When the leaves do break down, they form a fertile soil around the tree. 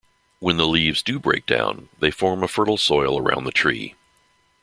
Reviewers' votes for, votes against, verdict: 2, 0, accepted